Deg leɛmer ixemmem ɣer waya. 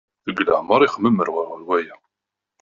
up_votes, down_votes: 1, 3